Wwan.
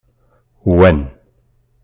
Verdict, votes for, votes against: rejected, 1, 2